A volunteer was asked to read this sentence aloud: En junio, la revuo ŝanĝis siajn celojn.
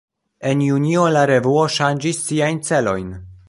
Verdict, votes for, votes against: rejected, 1, 2